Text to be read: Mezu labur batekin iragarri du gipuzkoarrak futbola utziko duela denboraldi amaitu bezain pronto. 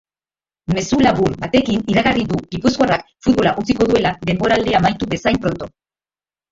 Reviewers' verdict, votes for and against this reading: rejected, 0, 2